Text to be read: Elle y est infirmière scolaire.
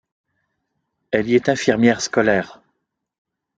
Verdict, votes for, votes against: accepted, 2, 0